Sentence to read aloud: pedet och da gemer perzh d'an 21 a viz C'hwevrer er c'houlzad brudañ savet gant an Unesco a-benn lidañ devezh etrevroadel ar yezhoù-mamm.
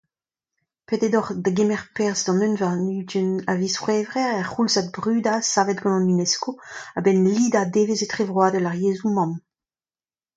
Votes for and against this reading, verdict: 0, 2, rejected